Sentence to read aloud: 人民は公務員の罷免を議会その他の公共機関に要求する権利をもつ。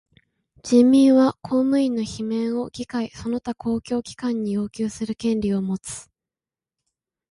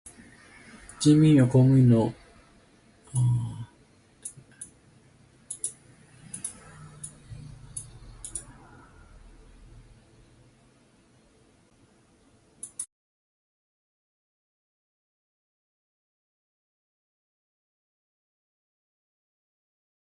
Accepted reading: first